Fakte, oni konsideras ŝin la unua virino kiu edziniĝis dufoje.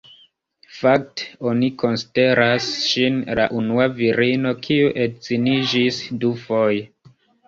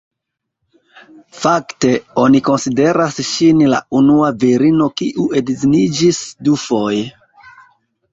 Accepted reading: second